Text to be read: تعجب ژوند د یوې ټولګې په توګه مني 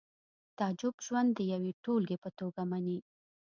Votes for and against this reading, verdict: 2, 0, accepted